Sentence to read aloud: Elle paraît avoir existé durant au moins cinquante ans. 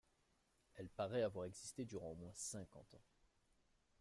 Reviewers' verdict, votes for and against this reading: rejected, 0, 2